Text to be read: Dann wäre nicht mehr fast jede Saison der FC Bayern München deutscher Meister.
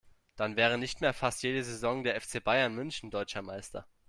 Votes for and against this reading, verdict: 2, 0, accepted